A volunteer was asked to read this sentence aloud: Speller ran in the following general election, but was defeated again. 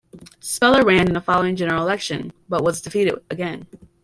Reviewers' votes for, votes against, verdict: 0, 2, rejected